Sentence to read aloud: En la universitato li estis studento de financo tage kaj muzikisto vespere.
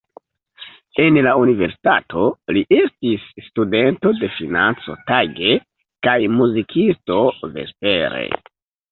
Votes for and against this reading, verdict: 2, 1, accepted